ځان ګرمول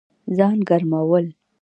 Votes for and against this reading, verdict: 2, 1, accepted